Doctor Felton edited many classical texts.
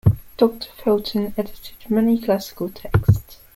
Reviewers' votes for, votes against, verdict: 2, 0, accepted